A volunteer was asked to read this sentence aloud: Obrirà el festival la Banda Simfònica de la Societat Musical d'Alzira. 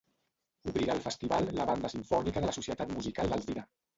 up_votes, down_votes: 0, 2